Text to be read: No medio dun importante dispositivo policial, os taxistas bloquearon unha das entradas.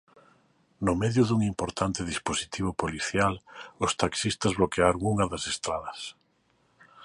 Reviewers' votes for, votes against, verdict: 1, 2, rejected